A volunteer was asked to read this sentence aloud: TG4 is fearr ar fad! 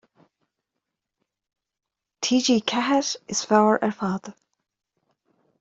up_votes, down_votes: 0, 2